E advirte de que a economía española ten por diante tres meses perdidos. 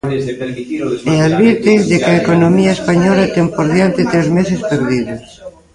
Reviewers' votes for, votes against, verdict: 0, 2, rejected